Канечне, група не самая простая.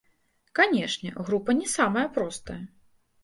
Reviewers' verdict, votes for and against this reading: rejected, 1, 2